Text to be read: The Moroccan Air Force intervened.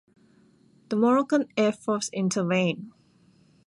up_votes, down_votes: 0, 2